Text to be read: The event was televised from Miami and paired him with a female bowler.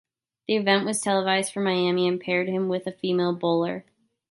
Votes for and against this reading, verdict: 2, 0, accepted